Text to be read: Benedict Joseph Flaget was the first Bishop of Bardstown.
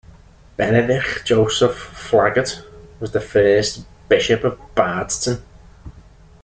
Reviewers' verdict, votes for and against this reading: rejected, 1, 3